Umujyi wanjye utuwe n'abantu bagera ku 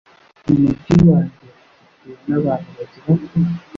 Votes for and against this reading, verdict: 1, 2, rejected